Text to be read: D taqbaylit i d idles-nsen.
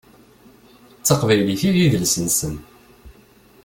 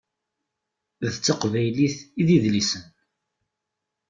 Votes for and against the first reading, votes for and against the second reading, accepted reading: 2, 0, 0, 2, first